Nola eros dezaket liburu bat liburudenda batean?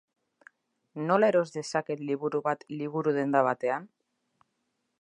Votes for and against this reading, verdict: 2, 0, accepted